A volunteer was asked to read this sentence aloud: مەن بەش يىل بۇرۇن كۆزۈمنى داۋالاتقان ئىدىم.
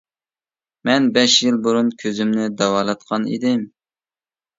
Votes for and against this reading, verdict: 2, 0, accepted